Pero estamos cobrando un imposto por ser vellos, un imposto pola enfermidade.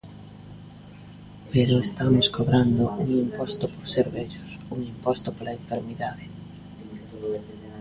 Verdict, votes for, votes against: accepted, 2, 0